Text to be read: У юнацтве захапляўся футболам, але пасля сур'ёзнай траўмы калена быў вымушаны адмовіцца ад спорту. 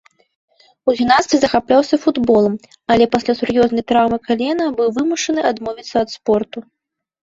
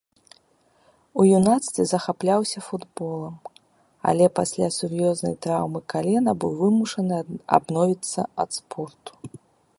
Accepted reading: first